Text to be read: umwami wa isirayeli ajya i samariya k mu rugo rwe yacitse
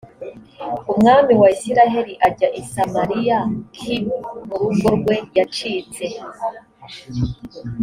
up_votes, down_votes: 2, 0